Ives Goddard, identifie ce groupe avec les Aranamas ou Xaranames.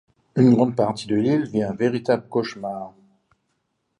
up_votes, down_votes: 0, 2